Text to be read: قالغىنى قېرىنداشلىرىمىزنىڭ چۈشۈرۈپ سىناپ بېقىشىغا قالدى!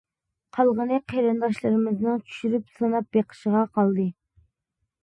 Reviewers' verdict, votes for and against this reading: accepted, 2, 0